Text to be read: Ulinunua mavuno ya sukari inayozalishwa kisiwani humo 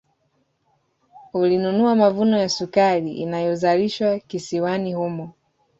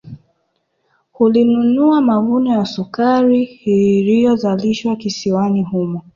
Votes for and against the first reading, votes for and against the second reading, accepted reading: 3, 0, 0, 2, first